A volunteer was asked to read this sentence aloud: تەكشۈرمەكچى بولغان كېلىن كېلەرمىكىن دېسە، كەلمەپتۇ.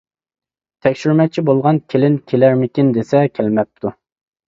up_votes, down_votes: 2, 0